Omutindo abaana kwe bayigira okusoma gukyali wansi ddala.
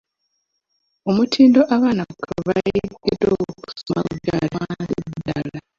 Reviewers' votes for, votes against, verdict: 0, 3, rejected